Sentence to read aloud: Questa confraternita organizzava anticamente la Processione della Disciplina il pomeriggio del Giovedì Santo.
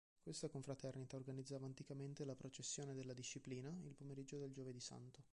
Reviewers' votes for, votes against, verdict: 1, 2, rejected